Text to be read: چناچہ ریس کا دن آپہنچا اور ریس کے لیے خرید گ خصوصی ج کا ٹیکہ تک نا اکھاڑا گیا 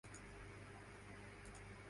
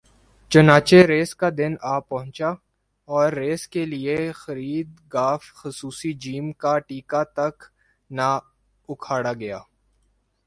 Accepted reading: second